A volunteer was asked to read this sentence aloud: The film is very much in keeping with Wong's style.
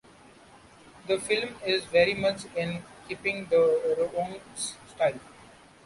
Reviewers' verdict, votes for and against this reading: rejected, 0, 2